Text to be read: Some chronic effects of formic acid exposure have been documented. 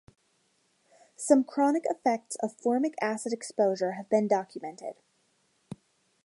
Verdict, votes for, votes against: accepted, 2, 0